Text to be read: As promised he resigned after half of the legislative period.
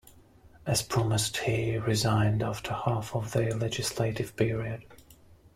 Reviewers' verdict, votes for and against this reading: rejected, 1, 2